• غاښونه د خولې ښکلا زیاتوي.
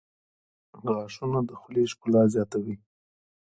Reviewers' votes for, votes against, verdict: 2, 0, accepted